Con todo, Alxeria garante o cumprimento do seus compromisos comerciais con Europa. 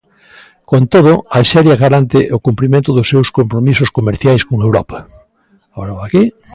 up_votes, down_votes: 0, 2